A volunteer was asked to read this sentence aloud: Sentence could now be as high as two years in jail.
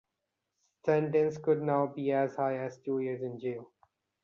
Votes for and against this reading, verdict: 2, 0, accepted